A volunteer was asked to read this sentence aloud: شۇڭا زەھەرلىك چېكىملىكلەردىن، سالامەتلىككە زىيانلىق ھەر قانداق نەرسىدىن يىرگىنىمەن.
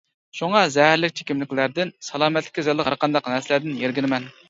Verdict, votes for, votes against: rejected, 0, 2